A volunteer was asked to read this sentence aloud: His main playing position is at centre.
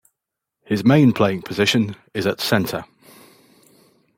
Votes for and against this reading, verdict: 2, 0, accepted